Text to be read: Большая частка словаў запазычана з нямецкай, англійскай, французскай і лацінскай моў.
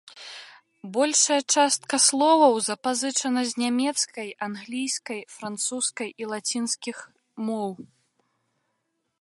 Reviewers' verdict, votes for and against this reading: rejected, 0, 2